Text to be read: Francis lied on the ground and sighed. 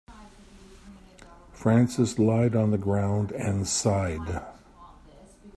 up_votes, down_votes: 2, 0